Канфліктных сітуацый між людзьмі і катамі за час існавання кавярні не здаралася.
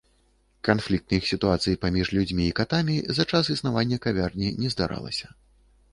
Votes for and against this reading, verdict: 0, 2, rejected